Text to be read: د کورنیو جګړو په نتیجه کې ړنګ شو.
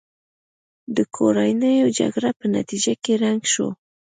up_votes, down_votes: 2, 0